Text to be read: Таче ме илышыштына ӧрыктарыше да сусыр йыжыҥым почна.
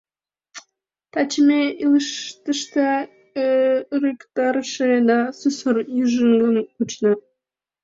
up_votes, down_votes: 0, 2